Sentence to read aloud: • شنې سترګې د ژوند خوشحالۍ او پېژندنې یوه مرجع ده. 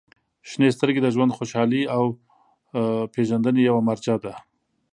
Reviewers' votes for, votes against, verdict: 3, 0, accepted